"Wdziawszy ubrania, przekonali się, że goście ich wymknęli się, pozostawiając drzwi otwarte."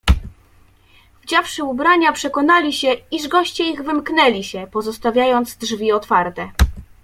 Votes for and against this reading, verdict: 0, 2, rejected